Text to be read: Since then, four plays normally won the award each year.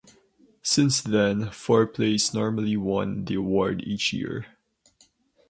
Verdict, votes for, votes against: accepted, 4, 0